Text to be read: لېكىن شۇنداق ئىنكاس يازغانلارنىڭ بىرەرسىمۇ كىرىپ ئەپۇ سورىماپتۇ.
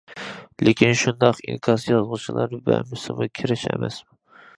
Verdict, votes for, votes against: rejected, 0, 2